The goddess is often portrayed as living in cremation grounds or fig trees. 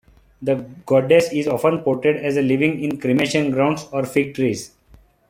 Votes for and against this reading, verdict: 2, 0, accepted